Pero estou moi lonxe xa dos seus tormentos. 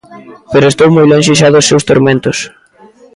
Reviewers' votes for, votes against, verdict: 2, 1, accepted